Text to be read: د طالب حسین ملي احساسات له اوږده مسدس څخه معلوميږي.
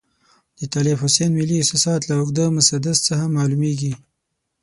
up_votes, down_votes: 12, 0